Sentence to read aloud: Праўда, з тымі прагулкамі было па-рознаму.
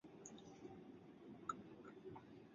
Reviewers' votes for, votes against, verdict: 0, 2, rejected